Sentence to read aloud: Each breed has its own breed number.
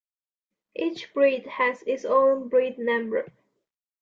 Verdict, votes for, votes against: accepted, 2, 0